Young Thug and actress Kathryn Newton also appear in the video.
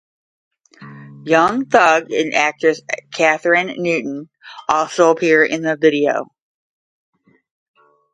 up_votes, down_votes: 0, 5